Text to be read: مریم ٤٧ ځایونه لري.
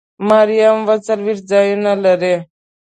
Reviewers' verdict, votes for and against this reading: rejected, 0, 2